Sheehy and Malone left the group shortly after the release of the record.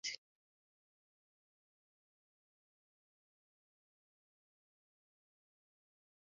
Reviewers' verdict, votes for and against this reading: rejected, 0, 2